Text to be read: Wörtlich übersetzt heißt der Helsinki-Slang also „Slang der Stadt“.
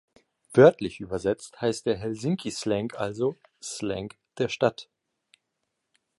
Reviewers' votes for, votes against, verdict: 3, 1, accepted